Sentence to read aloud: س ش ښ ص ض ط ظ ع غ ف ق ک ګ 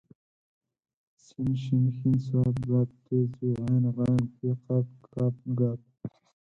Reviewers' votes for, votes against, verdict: 2, 4, rejected